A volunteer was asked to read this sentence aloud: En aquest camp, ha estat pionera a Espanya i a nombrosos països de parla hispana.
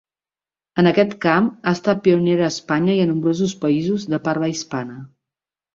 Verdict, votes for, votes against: accepted, 3, 0